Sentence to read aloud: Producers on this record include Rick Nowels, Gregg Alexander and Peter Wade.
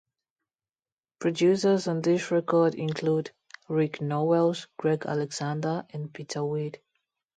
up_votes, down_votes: 2, 0